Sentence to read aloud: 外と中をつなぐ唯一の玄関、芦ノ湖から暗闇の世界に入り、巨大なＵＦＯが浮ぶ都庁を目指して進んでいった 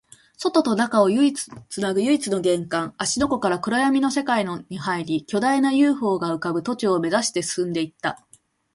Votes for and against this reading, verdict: 1, 2, rejected